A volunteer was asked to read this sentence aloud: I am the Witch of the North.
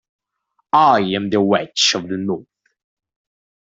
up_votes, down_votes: 2, 1